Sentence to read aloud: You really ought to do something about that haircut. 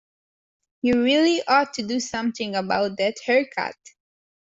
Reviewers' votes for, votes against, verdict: 2, 0, accepted